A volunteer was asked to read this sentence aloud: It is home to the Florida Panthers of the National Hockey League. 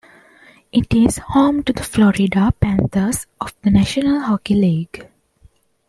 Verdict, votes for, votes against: accepted, 2, 0